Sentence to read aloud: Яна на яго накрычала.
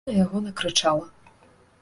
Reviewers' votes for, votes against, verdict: 0, 2, rejected